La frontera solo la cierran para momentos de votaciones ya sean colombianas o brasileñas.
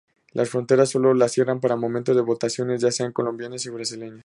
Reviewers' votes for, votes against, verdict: 2, 0, accepted